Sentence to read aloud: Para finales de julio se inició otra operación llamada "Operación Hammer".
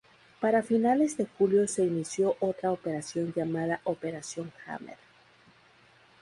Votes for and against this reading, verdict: 2, 0, accepted